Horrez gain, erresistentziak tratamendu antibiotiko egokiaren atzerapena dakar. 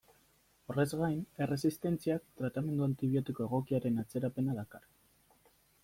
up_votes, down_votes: 2, 0